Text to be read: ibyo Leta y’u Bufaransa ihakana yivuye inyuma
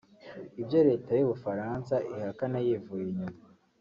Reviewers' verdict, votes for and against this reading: accepted, 3, 0